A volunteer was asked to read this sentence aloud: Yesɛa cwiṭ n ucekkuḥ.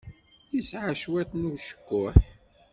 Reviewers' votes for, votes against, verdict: 2, 0, accepted